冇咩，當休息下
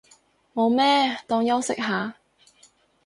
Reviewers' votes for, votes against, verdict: 4, 0, accepted